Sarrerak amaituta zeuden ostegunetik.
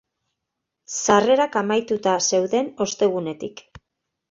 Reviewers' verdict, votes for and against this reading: accepted, 2, 0